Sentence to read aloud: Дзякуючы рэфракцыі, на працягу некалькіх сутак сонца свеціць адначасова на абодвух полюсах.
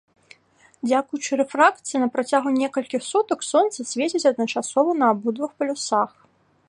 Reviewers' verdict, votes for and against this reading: accepted, 2, 1